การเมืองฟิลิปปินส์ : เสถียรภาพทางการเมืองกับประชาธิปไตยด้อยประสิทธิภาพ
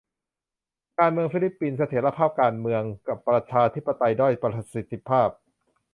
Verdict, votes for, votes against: rejected, 0, 2